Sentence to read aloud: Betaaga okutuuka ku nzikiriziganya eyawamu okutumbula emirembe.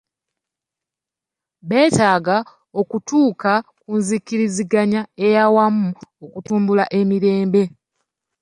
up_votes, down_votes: 2, 0